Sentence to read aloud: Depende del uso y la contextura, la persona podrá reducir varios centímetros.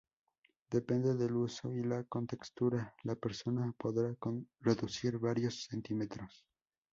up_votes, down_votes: 0, 2